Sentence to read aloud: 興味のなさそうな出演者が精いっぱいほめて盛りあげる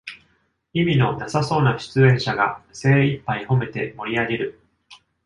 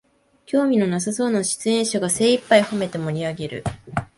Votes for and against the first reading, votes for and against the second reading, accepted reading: 0, 2, 2, 0, second